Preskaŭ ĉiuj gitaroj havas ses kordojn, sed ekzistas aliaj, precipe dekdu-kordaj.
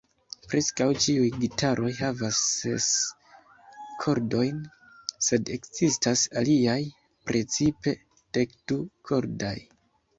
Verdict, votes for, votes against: rejected, 1, 2